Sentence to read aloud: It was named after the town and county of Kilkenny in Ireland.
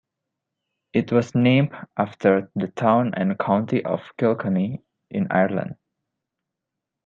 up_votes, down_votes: 1, 2